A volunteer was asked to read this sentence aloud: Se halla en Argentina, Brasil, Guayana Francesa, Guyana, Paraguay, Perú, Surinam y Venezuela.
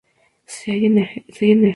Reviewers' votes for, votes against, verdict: 0, 2, rejected